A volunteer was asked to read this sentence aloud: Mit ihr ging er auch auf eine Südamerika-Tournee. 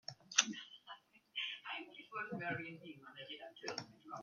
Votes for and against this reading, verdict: 0, 2, rejected